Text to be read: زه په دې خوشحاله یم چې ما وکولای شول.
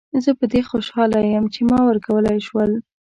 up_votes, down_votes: 1, 2